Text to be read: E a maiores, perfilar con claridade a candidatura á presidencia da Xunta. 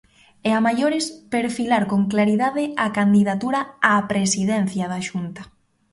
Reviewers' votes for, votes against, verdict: 2, 1, accepted